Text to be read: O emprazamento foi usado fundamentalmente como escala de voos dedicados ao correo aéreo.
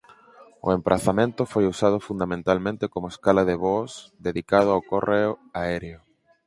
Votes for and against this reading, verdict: 0, 4, rejected